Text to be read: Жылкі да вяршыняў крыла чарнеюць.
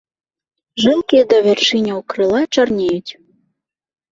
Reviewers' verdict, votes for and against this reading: accepted, 2, 0